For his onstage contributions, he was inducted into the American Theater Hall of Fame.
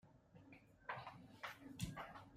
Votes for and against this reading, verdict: 0, 2, rejected